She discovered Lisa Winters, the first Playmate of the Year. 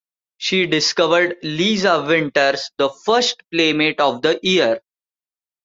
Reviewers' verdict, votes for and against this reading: accepted, 2, 0